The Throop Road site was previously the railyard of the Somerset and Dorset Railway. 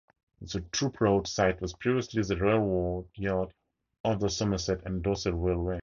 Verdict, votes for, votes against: rejected, 2, 2